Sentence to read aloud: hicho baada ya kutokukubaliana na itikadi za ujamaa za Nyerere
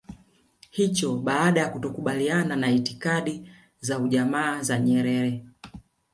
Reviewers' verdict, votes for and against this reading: rejected, 1, 2